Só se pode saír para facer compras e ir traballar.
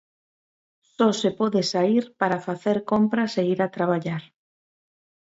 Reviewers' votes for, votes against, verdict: 1, 2, rejected